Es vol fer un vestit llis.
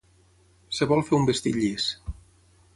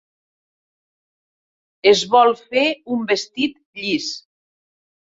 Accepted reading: second